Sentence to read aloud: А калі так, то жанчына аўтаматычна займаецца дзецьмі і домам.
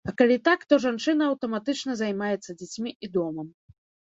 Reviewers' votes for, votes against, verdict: 1, 2, rejected